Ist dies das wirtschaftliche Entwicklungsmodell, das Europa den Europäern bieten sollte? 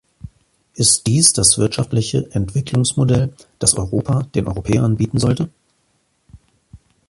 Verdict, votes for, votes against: accepted, 3, 0